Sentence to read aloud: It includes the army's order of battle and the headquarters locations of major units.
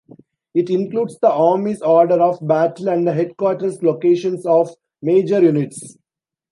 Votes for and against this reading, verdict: 2, 0, accepted